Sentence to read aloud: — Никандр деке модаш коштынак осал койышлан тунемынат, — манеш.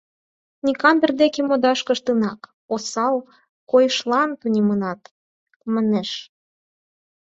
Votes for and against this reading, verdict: 4, 0, accepted